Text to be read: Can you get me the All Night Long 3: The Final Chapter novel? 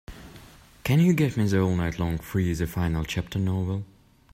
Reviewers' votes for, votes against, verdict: 0, 2, rejected